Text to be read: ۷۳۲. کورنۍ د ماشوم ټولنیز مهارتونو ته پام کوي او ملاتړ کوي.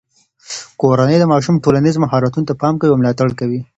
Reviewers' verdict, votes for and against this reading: rejected, 0, 2